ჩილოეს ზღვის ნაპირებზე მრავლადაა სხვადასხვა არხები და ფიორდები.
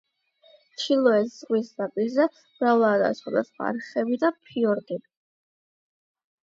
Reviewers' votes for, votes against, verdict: 0, 8, rejected